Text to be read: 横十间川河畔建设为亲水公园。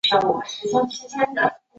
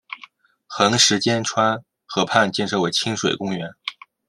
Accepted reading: second